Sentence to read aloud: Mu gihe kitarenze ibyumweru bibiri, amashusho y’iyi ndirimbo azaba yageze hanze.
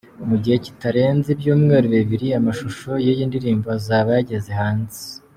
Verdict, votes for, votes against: accepted, 2, 0